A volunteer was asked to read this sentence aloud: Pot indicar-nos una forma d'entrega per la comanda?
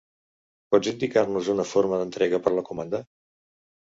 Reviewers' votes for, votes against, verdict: 1, 2, rejected